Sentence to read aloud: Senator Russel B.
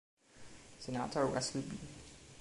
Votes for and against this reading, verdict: 2, 0, accepted